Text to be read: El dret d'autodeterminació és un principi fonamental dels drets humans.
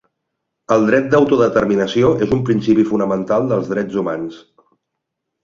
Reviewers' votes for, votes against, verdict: 3, 0, accepted